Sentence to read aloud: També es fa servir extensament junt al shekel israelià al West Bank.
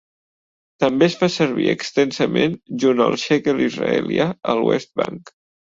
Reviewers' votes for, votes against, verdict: 2, 0, accepted